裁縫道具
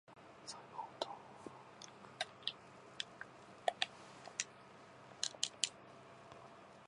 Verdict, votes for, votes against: rejected, 0, 2